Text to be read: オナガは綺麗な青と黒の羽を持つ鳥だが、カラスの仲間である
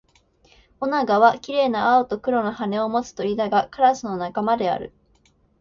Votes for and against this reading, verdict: 2, 1, accepted